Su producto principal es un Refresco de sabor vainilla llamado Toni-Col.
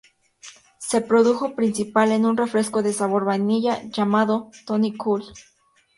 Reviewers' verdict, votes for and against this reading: rejected, 0, 2